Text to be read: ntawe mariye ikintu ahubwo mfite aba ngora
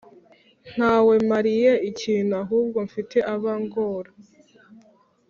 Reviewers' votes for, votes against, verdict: 2, 0, accepted